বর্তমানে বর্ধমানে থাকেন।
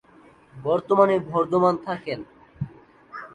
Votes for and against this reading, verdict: 0, 2, rejected